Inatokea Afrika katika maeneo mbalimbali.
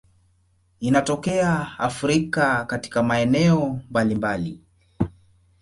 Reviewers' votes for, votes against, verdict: 2, 0, accepted